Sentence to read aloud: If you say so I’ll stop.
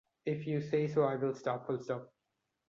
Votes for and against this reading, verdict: 0, 2, rejected